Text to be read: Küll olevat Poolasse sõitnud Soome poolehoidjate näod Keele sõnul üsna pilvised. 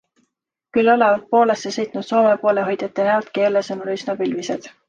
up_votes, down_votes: 2, 0